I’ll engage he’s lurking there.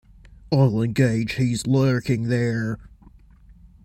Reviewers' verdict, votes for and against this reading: accepted, 2, 0